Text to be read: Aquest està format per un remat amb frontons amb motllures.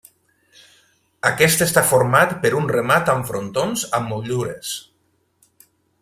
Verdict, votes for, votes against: rejected, 0, 2